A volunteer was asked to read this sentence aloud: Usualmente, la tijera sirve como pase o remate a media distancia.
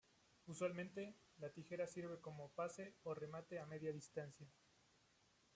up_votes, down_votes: 2, 1